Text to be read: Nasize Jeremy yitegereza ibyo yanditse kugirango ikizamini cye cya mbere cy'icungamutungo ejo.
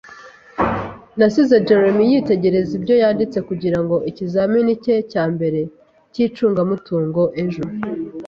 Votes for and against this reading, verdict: 3, 0, accepted